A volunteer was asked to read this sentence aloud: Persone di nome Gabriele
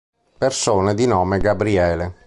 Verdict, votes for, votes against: accepted, 2, 0